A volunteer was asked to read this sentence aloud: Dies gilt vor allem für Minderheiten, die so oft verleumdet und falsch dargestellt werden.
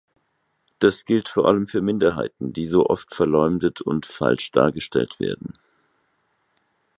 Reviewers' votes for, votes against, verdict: 0, 4, rejected